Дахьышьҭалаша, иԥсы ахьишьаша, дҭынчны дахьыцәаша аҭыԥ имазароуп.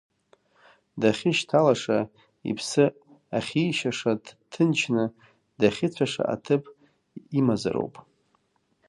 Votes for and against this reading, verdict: 0, 2, rejected